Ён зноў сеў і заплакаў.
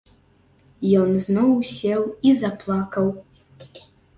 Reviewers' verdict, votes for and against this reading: accepted, 2, 0